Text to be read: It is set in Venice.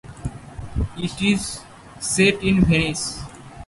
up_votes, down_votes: 0, 2